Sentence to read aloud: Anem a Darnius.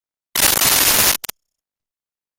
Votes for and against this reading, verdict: 0, 2, rejected